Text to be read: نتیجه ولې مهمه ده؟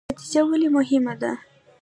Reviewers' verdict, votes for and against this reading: accepted, 2, 1